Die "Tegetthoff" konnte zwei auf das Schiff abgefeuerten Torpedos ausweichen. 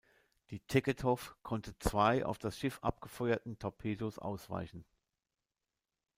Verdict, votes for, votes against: accepted, 2, 0